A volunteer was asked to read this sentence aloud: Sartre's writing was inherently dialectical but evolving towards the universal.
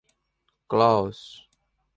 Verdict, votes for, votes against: rejected, 1, 2